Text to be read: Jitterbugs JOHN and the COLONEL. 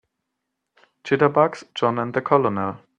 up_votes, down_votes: 2, 0